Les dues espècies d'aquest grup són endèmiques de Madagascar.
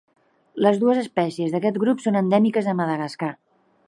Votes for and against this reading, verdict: 3, 0, accepted